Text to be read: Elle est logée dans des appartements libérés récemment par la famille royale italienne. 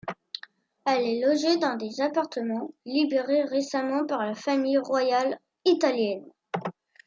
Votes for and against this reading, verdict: 2, 0, accepted